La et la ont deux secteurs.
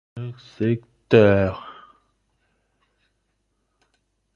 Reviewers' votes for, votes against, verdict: 0, 2, rejected